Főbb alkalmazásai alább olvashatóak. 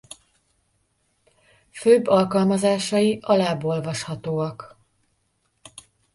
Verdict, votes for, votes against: accepted, 2, 1